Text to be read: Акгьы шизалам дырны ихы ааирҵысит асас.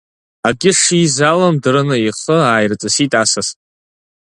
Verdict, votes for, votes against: accepted, 3, 0